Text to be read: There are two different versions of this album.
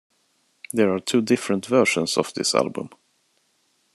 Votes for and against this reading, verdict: 2, 1, accepted